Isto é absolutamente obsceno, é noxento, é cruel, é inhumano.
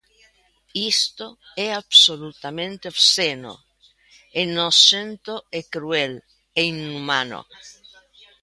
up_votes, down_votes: 1, 2